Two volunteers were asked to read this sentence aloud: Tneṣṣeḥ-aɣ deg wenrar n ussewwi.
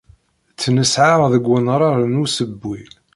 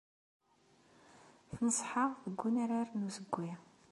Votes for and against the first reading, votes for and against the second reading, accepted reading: 1, 2, 2, 0, second